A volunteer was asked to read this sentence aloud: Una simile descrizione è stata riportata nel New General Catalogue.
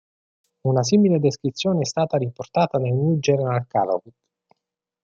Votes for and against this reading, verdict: 0, 2, rejected